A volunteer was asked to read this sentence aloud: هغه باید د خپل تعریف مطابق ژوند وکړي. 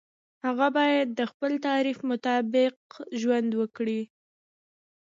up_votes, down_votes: 2, 0